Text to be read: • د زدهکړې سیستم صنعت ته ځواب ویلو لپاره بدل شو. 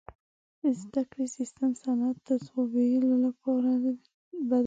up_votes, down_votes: 1, 2